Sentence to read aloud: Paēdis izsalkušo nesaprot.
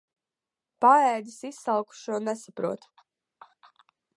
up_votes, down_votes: 2, 0